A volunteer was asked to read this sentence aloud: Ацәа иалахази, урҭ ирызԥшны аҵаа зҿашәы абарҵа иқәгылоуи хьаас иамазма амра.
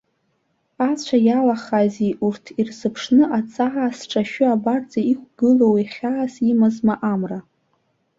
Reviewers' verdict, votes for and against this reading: rejected, 2, 3